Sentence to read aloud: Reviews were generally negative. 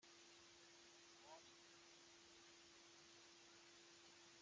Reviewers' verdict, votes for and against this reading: rejected, 0, 2